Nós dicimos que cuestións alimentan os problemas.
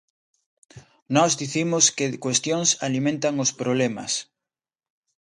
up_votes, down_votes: 2, 0